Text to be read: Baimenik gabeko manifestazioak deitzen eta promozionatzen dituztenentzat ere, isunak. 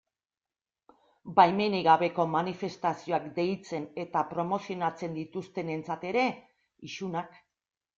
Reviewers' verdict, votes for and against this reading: accepted, 2, 0